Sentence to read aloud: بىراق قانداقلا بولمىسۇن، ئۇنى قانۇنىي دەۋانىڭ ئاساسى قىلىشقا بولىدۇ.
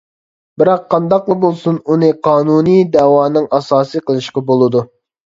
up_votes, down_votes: 1, 2